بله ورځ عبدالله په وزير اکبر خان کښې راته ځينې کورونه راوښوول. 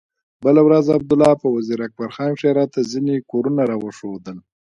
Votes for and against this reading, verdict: 2, 0, accepted